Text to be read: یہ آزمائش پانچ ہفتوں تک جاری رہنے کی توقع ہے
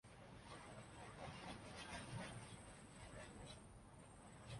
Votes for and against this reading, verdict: 0, 3, rejected